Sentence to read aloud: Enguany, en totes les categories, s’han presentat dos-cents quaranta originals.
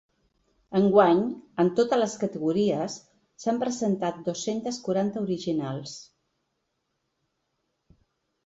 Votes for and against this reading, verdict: 0, 2, rejected